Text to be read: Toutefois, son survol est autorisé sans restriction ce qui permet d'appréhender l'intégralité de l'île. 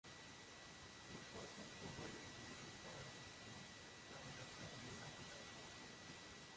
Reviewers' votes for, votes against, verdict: 0, 2, rejected